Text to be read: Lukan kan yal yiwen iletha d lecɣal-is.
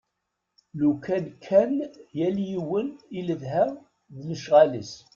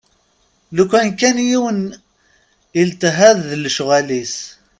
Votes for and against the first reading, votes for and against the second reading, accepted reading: 2, 0, 0, 2, first